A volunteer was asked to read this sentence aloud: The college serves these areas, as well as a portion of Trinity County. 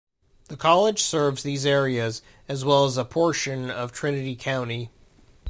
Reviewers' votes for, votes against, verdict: 2, 0, accepted